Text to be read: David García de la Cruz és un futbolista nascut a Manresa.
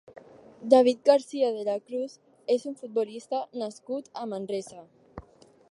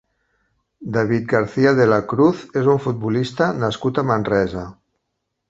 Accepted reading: second